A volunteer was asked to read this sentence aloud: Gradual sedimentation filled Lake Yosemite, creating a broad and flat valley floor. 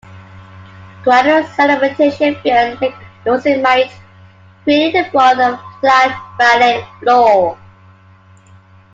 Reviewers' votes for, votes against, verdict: 0, 2, rejected